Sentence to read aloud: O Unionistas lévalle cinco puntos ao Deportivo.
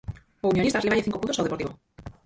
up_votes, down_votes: 0, 4